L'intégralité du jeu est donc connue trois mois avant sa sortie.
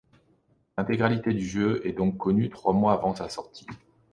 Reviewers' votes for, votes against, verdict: 2, 0, accepted